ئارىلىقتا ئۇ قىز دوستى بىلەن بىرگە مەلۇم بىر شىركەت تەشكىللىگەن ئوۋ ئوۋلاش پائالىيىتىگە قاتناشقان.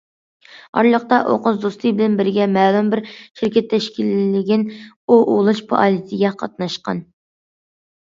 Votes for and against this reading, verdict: 2, 0, accepted